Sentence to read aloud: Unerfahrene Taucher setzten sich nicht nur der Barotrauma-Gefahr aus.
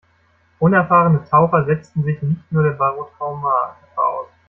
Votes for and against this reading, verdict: 0, 2, rejected